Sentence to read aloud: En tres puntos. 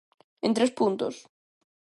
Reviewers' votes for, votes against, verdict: 2, 0, accepted